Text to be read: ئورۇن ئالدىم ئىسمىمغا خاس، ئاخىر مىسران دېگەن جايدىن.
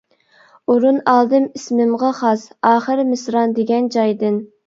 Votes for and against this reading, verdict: 2, 0, accepted